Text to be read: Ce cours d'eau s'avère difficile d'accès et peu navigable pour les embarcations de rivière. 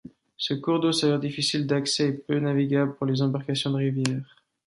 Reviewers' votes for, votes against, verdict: 2, 0, accepted